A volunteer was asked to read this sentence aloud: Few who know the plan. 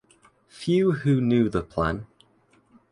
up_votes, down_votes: 1, 2